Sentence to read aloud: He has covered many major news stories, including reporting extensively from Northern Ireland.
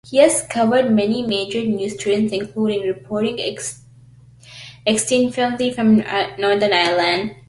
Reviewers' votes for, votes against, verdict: 0, 2, rejected